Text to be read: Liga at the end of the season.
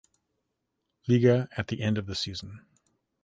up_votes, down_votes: 2, 0